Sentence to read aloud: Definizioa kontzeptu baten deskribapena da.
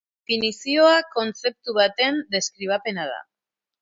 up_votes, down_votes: 0, 2